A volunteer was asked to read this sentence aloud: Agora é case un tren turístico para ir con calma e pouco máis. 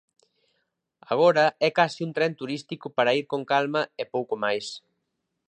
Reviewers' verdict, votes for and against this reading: accepted, 2, 0